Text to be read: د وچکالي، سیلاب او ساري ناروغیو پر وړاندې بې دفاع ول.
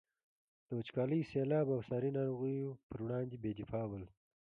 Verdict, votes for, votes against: accepted, 2, 0